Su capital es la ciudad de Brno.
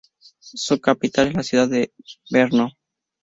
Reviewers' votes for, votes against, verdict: 2, 0, accepted